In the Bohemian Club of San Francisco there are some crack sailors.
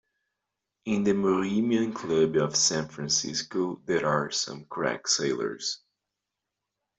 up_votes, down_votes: 1, 2